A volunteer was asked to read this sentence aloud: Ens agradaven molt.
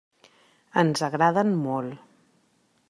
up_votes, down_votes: 0, 2